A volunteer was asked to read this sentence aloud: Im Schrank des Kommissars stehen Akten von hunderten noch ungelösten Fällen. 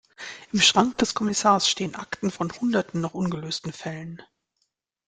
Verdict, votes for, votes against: accepted, 2, 0